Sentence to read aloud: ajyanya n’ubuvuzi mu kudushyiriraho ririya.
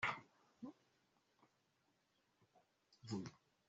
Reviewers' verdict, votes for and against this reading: rejected, 0, 2